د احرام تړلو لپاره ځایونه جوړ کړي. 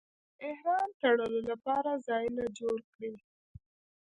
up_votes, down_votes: 1, 2